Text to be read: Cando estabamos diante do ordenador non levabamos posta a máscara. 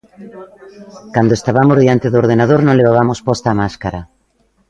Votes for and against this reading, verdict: 2, 0, accepted